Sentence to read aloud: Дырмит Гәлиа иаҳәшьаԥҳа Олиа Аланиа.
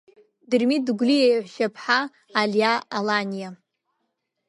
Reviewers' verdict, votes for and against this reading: rejected, 0, 2